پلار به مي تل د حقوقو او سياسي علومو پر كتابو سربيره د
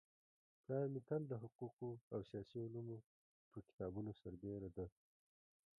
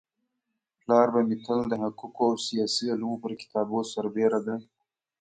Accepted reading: second